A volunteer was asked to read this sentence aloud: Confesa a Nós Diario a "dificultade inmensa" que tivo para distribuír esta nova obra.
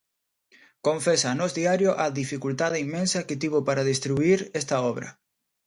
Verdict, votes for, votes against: rejected, 0, 2